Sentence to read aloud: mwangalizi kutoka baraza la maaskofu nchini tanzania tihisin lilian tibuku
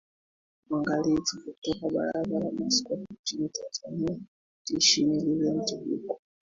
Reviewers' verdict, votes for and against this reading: rejected, 0, 3